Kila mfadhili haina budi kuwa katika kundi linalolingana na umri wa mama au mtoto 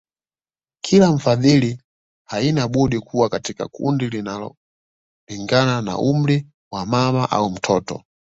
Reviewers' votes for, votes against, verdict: 2, 0, accepted